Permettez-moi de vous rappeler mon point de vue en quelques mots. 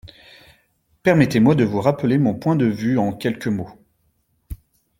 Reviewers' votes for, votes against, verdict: 2, 0, accepted